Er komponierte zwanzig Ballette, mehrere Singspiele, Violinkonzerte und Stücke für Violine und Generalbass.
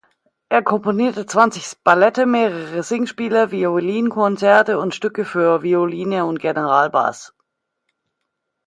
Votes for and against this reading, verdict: 1, 2, rejected